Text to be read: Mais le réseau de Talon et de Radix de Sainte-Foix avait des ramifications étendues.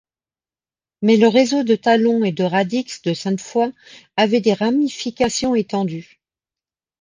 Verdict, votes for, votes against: accepted, 2, 0